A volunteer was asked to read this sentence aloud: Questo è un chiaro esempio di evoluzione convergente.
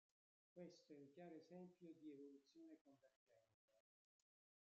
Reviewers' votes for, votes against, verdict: 1, 2, rejected